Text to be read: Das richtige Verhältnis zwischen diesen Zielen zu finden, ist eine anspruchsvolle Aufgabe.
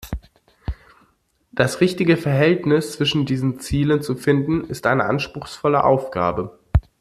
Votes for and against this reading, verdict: 2, 0, accepted